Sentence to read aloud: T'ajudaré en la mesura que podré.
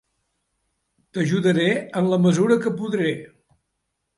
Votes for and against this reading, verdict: 4, 0, accepted